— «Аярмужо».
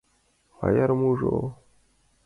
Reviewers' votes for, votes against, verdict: 2, 0, accepted